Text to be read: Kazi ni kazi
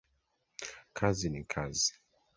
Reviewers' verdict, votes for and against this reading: accepted, 2, 0